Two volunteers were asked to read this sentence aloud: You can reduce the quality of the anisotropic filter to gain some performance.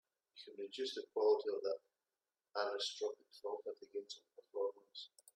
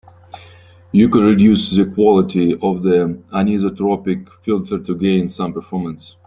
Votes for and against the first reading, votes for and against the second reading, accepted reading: 1, 2, 2, 0, second